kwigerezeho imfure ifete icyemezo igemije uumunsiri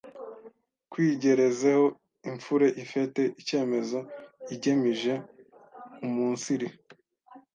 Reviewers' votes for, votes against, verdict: 1, 2, rejected